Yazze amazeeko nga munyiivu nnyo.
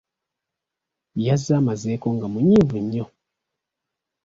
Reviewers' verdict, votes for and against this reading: accepted, 2, 0